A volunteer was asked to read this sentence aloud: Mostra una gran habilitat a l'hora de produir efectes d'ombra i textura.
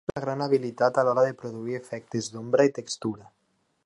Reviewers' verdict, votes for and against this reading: rejected, 0, 2